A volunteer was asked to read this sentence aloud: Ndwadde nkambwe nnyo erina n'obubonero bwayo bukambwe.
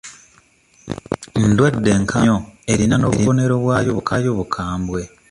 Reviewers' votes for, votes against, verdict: 1, 2, rejected